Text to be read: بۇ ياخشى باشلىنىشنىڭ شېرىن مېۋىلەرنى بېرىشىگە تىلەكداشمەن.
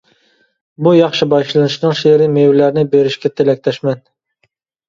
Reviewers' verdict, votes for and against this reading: rejected, 1, 2